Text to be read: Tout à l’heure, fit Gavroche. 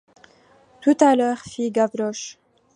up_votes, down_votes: 2, 0